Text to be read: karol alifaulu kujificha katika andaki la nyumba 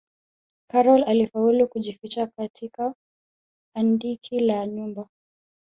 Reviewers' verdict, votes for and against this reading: rejected, 1, 2